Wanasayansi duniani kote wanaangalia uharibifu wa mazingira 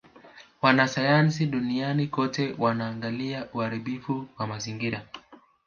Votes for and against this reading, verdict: 2, 0, accepted